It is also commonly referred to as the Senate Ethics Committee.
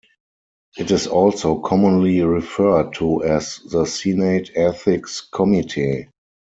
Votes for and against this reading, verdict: 2, 4, rejected